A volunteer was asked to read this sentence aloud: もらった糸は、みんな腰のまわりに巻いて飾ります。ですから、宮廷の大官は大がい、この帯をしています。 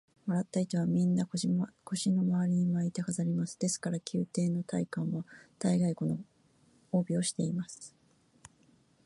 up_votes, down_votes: 0, 2